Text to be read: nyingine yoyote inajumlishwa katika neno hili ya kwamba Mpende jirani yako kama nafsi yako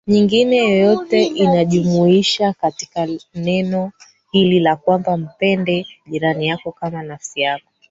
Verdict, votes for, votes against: rejected, 0, 3